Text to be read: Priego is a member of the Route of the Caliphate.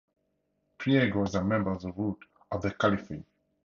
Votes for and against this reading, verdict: 0, 2, rejected